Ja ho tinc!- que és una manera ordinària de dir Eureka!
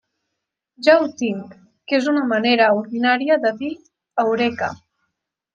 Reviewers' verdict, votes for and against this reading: accepted, 2, 1